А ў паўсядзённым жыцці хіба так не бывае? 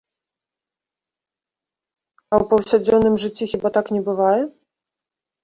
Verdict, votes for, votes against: rejected, 0, 2